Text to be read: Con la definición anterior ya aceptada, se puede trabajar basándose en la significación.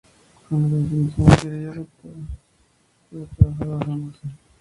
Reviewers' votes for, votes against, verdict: 0, 2, rejected